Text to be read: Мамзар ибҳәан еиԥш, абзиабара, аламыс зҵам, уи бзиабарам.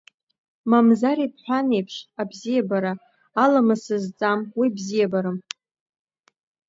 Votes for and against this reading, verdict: 1, 2, rejected